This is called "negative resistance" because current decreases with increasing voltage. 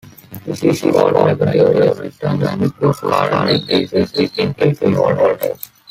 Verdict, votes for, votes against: rejected, 0, 2